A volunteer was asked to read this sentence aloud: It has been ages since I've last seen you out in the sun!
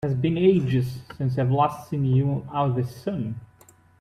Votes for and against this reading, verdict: 1, 2, rejected